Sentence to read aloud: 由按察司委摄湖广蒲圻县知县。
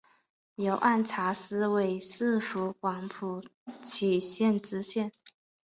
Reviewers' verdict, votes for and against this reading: accepted, 2, 1